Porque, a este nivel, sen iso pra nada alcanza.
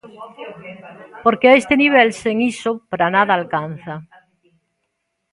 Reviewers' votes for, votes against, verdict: 1, 2, rejected